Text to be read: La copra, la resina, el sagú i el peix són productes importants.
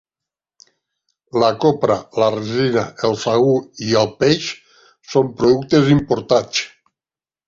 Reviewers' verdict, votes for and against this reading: rejected, 0, 2